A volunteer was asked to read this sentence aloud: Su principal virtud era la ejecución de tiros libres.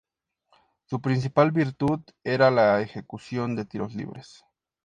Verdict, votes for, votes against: accepted, 2, 0